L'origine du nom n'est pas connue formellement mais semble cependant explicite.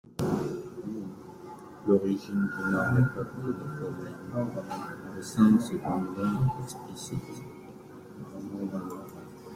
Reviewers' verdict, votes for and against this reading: rejected, 1, 2